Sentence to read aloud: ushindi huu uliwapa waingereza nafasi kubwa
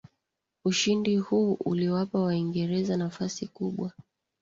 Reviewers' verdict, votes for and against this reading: accepted, 3, 0